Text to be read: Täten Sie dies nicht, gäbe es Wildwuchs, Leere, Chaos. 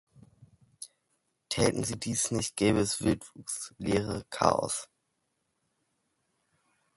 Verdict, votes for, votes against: accepted, 2, 1